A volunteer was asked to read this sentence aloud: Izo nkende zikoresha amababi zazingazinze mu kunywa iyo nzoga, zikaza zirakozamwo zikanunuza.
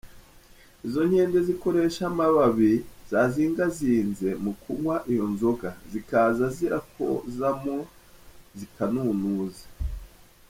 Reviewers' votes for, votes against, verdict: 1, 2, rejected